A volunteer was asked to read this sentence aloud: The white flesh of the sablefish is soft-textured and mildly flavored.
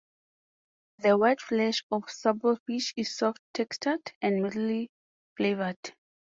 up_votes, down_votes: 2, 0